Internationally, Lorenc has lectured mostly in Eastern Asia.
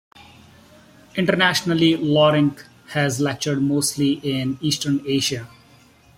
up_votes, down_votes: 2, 0